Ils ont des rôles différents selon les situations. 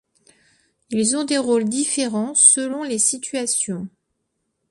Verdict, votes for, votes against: accepted, 2, 0